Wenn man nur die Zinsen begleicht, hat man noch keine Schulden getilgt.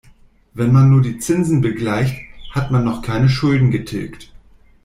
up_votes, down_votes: 2, 0